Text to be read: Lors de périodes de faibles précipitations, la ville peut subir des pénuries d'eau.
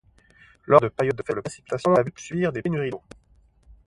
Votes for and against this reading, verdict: 0, 2, rejected